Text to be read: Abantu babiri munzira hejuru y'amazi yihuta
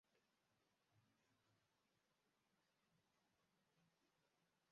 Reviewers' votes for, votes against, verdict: 0, 2, rejected